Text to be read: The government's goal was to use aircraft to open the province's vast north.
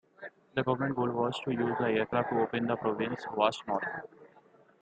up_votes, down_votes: 0, 2